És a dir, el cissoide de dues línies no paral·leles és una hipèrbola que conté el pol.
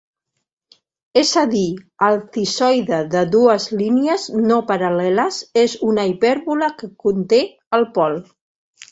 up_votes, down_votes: 2, 0